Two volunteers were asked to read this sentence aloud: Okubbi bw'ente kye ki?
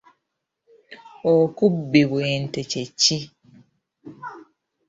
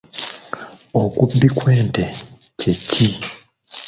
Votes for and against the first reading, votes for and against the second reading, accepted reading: 2, 1, 0, 2, first